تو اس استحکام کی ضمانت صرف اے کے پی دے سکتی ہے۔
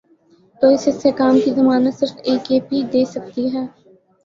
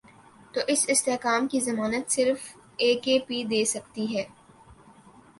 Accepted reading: first